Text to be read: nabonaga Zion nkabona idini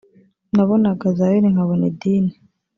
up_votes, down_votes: 1, 2